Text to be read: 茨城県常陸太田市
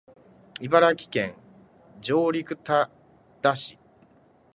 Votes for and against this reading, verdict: 2, 1, accepted